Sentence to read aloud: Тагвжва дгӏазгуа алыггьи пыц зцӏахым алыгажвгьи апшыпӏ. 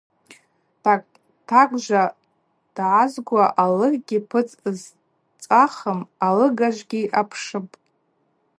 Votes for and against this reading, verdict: 0, 2, rejected